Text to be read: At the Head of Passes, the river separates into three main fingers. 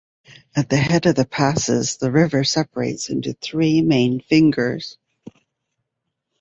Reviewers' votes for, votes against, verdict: 2, 0, accepted